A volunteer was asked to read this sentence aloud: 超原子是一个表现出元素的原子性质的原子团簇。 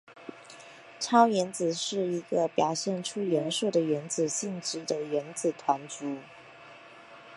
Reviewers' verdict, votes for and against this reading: rejected, 0, 2